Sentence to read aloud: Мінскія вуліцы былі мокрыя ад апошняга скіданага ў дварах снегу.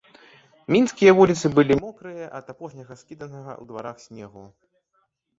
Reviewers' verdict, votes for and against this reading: rejected, 1, 2